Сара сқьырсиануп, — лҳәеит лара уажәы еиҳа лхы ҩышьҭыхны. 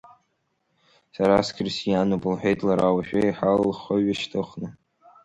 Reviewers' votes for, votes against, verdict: 2, 0, accepted